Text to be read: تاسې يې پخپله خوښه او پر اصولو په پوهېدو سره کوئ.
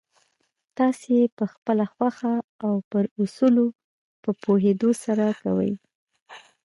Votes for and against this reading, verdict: 2, 0, accepted